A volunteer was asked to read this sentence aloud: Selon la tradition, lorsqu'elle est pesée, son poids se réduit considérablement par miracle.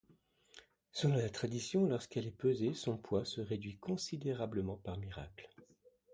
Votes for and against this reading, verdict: 2, 0, accepted